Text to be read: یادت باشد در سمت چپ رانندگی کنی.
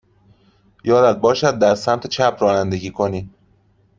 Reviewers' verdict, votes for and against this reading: accepted, 2, 0